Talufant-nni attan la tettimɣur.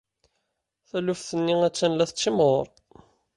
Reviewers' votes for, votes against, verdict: 1, 2, rejected